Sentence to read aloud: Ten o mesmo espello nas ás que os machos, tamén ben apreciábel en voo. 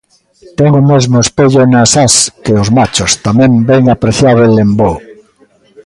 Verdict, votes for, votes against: rejected, 1, 2